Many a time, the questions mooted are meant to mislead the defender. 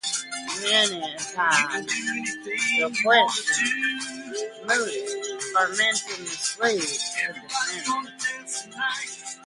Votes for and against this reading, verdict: 2, 1, accepted